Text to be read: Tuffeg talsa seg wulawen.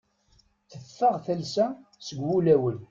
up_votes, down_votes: 1, 2